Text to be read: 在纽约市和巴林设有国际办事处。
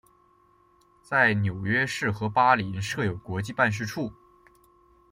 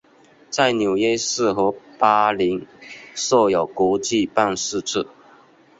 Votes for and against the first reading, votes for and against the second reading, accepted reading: 2, 0, 1, 2, first